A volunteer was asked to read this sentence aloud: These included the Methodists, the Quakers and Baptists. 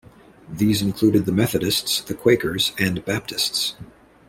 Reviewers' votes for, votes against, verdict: 2, 0, accepted